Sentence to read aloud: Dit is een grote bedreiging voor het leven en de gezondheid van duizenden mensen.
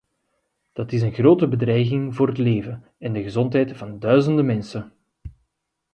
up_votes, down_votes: 1, 2